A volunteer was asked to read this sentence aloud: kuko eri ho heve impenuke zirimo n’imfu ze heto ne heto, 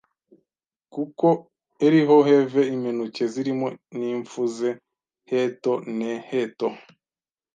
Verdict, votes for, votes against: rejected, 1, 2